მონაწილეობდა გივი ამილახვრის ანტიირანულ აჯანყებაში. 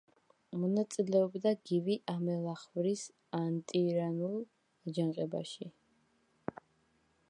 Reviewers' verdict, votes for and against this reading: rejected, 0, 2